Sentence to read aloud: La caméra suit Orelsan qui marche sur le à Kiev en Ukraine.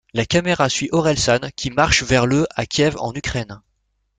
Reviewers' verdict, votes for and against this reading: rejected, 1, 2